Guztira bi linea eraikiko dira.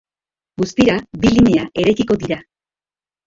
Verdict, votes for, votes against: rejected, 0, 2